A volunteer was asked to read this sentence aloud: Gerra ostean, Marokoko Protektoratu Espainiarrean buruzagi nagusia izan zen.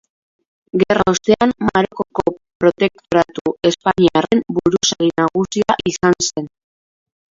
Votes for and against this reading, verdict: 3, 4, rejected